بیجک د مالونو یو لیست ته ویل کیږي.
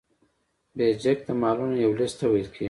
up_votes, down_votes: 2, 0